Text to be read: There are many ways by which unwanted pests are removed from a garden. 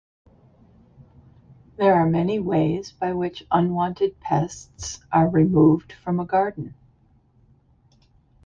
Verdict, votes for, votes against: accepted, 2, 0